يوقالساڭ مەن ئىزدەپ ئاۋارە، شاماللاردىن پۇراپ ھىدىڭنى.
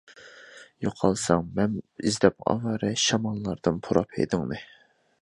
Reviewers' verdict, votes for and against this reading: accepted, 2, 1